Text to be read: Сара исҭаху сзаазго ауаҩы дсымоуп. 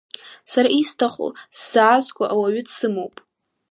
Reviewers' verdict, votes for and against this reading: accepted, 2, 0